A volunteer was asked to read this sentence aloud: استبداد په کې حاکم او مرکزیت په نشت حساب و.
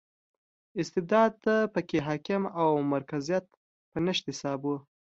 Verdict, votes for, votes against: accepted, 2, 0